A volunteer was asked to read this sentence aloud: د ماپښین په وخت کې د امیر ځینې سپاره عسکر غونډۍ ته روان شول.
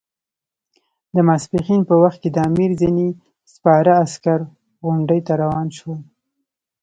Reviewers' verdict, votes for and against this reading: accepted, 2, 0